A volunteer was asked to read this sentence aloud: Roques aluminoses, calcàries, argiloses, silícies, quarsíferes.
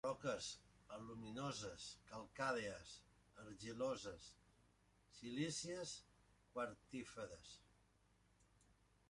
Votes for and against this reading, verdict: 0, 2, rejected